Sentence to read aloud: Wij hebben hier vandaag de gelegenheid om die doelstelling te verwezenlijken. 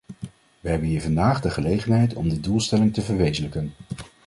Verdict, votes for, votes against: rejected, 1, 2